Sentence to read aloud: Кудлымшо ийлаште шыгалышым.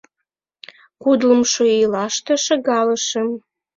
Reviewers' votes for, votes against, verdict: 2, 0, accepted